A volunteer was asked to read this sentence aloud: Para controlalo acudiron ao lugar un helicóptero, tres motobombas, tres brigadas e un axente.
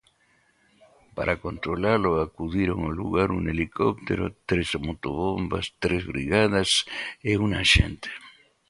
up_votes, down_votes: 2, 0